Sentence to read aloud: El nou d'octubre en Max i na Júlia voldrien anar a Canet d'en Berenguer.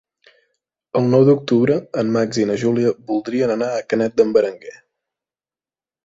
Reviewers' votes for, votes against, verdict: 3, 0, accepted